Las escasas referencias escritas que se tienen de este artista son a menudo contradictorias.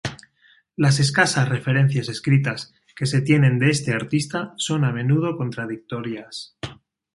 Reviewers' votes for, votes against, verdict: 2, 0, accepted